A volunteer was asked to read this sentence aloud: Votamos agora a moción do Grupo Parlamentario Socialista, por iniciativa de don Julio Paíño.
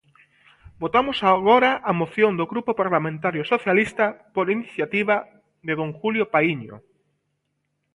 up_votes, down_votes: 2, 0